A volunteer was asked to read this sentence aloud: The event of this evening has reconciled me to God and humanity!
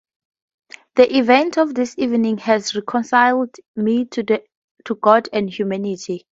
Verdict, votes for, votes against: rejected, 0, 2